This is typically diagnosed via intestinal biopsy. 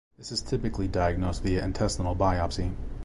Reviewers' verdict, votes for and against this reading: accepted, 2, 1